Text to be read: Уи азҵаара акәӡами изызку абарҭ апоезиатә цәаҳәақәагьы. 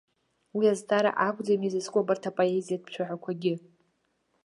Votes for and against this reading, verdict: 2, 0, accepted